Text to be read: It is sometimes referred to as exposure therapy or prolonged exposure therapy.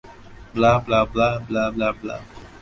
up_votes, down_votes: 0, 2